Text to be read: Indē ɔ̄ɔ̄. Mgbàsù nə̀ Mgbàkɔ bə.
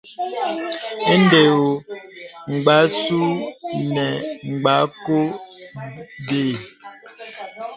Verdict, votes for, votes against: accepted, 2, 1